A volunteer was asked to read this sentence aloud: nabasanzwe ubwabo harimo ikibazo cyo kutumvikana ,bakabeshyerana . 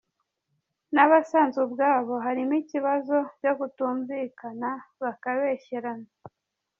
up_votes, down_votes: 2, 0